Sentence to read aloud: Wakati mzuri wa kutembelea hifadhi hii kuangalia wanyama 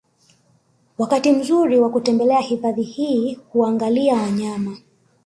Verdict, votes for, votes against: rejected, 0, 2